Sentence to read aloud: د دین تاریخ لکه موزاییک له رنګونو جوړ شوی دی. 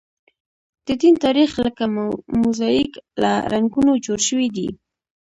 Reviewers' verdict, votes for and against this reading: rejected, 1, 2